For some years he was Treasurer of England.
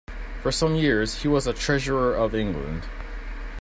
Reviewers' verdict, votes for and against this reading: rejected, 1, 2